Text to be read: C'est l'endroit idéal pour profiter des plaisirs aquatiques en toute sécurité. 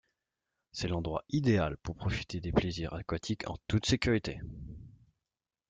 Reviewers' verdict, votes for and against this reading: accepted, 2, 1